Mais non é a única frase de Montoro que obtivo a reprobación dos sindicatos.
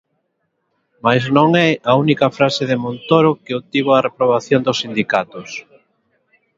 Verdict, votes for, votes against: accepted, 3, 0